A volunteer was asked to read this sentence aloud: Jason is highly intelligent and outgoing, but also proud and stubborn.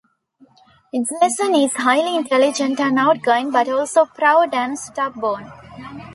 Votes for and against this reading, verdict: 0, 2, rejected